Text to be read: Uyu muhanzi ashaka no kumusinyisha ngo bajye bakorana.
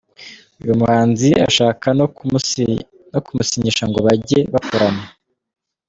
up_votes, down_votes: 0, 2